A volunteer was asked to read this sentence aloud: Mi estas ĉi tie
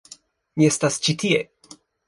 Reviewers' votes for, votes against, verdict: 1, 2, rejected